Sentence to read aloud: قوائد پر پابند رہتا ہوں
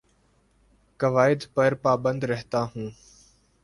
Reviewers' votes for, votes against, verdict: 2, 0, accepted